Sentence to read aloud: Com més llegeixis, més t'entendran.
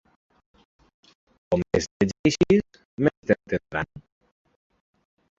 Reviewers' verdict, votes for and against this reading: rejected, 0, 2